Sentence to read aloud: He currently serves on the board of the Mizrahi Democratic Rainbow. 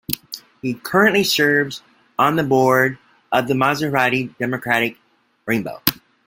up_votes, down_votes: 0, 2